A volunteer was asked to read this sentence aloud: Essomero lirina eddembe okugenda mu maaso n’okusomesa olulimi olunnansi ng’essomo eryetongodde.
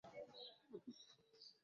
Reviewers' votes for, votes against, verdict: 0, 2, rejected